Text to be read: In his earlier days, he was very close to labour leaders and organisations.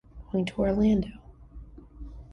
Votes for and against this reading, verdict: 0, 2, rejected